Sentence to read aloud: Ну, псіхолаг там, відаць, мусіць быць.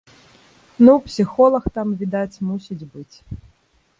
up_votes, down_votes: 2, 0